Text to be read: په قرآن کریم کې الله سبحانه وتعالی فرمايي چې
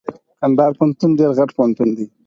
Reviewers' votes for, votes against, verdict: 2, 4, rejected